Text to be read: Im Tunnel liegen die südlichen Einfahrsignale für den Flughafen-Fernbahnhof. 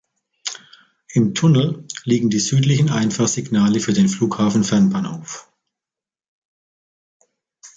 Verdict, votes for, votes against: accepted, 2, 1